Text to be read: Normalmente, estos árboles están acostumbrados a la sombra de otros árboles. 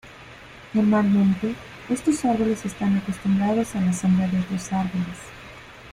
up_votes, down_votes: 2, 0